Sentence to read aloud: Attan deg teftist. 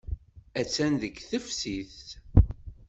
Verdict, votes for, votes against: rejected, 1, 2